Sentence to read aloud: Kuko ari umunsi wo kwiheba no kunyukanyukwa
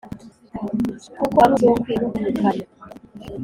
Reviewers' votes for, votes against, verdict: 0, 2, rejected